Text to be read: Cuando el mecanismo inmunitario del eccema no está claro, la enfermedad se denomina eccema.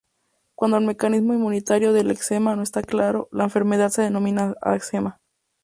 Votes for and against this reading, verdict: 2, 4, rejected